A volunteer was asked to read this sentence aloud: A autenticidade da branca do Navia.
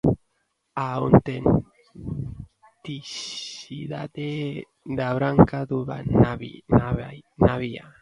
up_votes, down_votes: 0, 2